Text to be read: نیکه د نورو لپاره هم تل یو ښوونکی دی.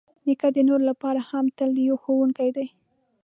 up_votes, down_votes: 2, 0